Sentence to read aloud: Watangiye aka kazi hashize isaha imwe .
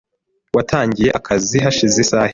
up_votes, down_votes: 1, 2